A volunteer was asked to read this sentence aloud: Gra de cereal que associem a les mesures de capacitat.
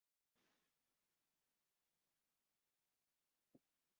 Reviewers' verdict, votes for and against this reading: rejected, 0, 2